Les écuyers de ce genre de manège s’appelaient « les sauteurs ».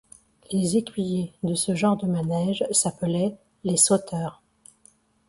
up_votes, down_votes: 2, 0